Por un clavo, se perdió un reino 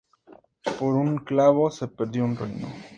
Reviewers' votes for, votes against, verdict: 4, 0, accepted